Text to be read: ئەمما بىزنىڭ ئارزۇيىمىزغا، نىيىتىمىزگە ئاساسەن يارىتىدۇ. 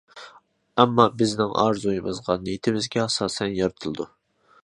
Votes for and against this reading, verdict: 0, 2, rejected